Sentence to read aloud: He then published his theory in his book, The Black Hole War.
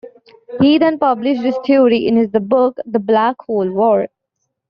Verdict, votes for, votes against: rejected, 0, 2